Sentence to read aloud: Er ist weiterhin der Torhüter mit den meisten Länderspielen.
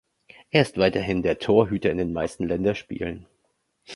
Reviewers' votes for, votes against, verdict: 1, 2, rejected